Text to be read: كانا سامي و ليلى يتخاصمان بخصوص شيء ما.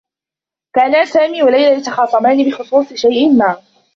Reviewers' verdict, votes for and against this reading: rejected, 1, 2